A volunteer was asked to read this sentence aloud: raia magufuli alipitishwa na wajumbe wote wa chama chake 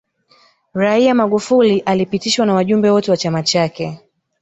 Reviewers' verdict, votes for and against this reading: rejected, 1, 2